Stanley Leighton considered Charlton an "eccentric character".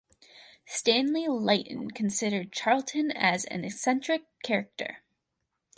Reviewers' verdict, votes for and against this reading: accepted, 4, 0